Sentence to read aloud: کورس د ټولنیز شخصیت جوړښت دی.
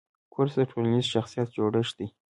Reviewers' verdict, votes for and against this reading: accepted, 2, 1